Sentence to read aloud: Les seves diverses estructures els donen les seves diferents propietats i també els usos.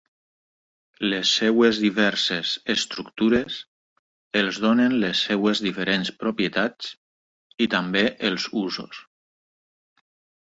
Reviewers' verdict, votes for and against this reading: rejected, 1, 2